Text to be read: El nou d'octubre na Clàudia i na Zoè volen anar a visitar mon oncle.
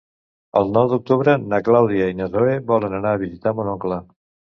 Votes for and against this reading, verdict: 0, 2, rejected